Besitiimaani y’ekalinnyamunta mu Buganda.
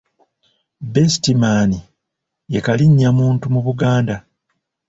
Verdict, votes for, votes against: rejected, 0, 2